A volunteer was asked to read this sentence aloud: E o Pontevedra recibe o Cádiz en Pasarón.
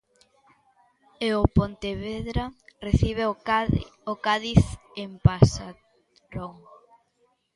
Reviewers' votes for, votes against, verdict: 0, 2, rejected